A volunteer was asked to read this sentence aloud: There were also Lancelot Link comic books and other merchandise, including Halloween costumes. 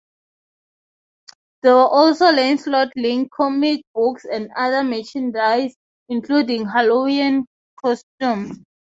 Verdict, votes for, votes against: rejected, 0, 3